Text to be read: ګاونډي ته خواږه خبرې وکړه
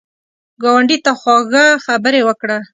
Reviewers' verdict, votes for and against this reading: accepted, 2, 0